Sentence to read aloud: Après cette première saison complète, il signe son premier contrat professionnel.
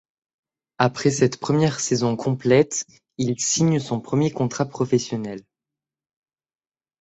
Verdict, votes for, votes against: accepted, 2, 0